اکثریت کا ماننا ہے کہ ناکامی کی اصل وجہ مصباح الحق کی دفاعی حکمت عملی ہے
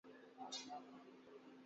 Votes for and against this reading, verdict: 0, 3, rejected